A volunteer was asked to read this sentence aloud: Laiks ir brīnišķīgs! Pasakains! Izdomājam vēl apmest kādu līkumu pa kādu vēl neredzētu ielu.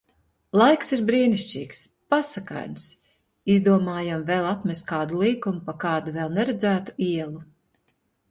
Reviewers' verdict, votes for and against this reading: accepted, 2, 0